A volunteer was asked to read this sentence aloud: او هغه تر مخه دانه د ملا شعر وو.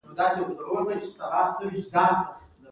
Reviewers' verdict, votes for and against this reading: accepted, 2, 0